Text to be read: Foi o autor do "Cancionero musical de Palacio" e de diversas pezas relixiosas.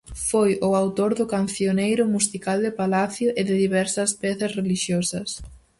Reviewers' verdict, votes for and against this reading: rejected, 0, 4